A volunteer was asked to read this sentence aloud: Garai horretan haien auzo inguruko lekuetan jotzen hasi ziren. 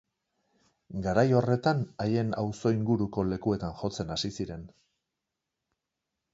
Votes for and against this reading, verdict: 3, 0, accepted